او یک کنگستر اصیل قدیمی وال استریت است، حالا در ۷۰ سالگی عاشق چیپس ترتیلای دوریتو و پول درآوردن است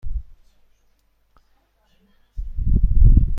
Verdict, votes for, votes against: rejected, 0, 2